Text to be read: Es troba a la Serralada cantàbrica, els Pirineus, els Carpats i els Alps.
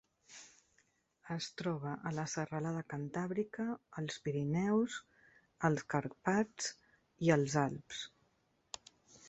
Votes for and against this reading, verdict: 3, 0, accepted